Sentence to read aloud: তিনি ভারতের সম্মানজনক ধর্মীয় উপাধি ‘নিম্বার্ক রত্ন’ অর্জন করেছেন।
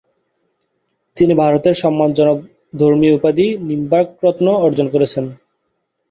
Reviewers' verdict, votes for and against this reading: accepted, 2, 1